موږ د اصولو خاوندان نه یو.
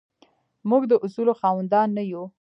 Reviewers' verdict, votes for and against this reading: rejected, 0, 2